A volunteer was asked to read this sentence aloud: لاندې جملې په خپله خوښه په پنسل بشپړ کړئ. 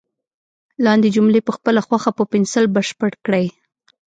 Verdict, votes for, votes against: accepted, 2, 0